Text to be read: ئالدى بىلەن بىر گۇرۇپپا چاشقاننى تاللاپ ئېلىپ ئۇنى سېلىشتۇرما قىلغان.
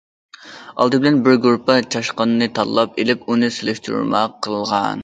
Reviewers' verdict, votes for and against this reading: accepted, 2, 0